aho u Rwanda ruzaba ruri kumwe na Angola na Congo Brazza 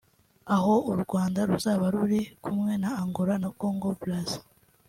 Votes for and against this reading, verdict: 2, 0, accepted